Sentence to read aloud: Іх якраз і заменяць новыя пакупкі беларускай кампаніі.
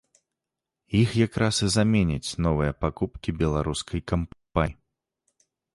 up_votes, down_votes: 1, 2